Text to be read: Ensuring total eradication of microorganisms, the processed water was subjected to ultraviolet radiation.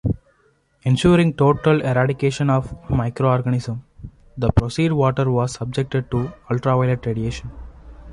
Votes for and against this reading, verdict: 0, 2, rejected